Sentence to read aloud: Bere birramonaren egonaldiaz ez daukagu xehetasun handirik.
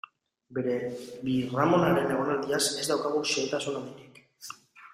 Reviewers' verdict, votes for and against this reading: accepted, 2, 0